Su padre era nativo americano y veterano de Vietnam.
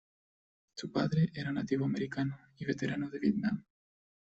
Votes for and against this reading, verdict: 2, 1, accepted